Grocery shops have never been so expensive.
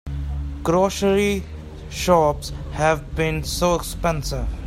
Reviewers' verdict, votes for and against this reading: rejected, 0, 2